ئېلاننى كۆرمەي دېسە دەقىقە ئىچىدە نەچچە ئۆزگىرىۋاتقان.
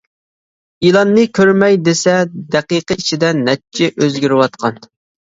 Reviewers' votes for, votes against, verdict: 3, 1, accepted